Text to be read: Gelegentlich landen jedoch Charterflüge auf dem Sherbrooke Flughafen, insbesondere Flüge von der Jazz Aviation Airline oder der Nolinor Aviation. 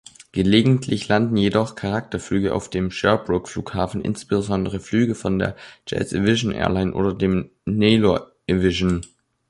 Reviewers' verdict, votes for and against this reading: rejected, 0, 2